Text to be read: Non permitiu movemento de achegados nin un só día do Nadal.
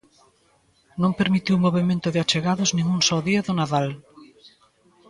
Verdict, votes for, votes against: accepted, 2, 1